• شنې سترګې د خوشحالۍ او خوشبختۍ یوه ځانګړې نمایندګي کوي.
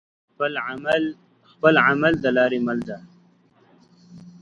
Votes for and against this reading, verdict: 1, 2, rejected